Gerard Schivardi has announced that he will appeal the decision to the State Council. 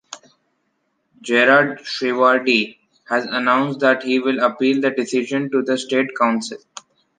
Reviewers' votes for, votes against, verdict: 1, 2, rejected